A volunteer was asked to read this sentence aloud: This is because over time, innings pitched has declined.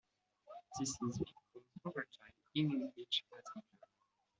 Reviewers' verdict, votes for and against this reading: rejected, 0, 2